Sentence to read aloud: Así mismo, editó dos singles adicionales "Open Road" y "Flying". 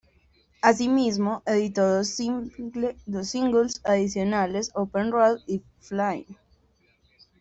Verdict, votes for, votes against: rejected, 1, 2